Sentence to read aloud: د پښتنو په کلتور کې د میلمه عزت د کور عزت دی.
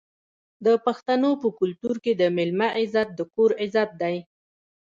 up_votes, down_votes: 0, 2